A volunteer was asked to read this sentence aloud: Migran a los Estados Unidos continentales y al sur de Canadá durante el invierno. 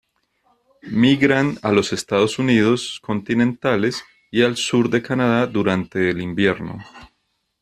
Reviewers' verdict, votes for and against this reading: accepted, 2, 0